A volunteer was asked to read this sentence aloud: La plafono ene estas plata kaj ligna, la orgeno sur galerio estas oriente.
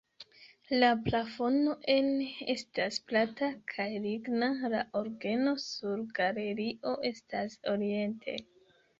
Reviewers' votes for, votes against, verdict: 1, 2, rejected